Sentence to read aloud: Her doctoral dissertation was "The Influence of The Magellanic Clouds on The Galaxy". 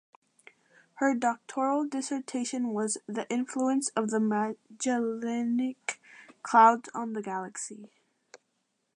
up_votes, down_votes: 1, 2